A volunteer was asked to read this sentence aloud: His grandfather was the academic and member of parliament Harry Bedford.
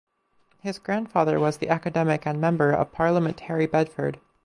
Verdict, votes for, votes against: accepted, 4, 0